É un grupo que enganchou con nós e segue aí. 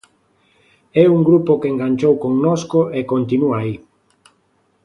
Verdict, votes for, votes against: rejected, 0, 2